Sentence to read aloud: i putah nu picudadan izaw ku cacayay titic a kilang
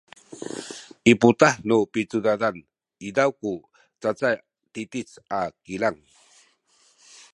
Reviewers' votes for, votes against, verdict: 0, 2, rejected